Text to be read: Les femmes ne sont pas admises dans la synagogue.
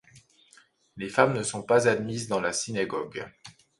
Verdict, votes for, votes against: accepted, 2, 0